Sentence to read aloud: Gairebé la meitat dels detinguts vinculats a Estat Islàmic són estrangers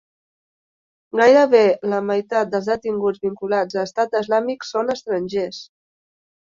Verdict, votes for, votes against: rejected, 0, 2